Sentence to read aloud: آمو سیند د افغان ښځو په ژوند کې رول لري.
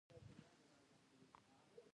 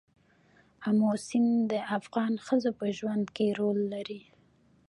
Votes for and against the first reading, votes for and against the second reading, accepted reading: 0, 2, 2, 1, second